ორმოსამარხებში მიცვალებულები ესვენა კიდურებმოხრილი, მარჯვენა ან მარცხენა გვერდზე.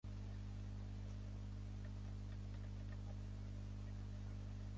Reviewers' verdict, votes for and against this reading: rejected, 0, 2